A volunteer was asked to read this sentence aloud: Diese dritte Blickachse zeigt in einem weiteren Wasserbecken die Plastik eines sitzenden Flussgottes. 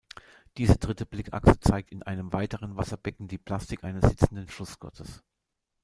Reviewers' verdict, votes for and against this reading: rejected, 1, 2